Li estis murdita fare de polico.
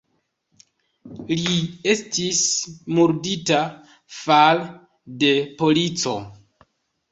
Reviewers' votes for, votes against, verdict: 2, 0, accepted